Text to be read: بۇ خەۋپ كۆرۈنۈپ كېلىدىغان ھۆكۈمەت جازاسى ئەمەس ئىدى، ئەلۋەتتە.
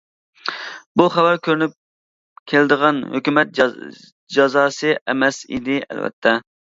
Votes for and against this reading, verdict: 1, 2, rejected